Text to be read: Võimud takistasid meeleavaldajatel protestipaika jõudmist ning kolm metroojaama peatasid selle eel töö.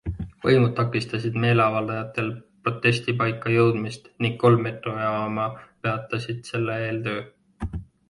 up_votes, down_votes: 3, 0